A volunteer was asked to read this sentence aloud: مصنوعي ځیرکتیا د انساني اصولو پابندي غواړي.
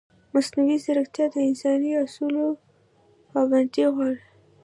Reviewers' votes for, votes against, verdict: 2, 0, accepted